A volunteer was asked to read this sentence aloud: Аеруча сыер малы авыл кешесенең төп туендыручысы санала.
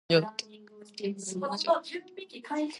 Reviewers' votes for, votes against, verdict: 0, 2, rejected